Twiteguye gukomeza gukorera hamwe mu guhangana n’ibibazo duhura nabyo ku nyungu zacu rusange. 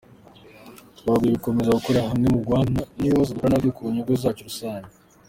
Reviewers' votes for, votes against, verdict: 0, 2, rejected